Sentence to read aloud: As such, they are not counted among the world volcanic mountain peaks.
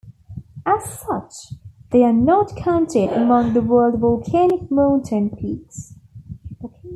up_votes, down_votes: 2, 0